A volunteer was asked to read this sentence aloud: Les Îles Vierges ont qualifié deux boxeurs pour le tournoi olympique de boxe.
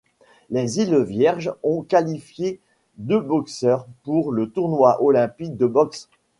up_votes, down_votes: 2, 1